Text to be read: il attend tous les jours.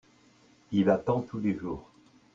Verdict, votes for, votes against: accepted, 2, 0